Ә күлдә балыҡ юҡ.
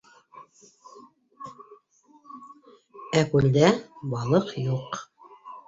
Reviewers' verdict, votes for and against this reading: rejected, 0, 2